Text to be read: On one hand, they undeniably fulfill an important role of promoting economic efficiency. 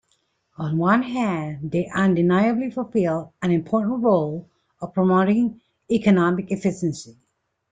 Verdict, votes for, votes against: accepted, 2, 0